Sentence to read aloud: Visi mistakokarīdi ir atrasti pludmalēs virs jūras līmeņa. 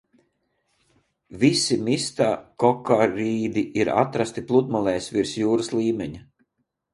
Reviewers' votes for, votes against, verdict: 2, 0, accepted